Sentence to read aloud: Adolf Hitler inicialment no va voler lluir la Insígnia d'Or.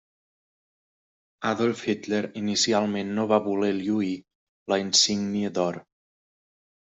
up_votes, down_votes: 3, 0